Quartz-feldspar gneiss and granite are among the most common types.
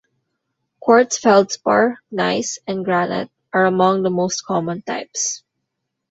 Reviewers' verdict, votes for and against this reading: rejected, 1, 2